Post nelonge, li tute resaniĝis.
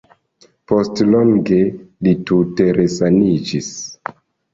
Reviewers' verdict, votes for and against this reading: rejected, 1, 2